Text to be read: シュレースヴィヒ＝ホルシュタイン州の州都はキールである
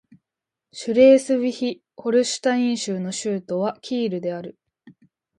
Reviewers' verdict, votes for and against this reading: accepted, 2, 0